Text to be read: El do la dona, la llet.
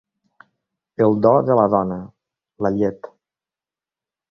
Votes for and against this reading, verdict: 1, 3, rejected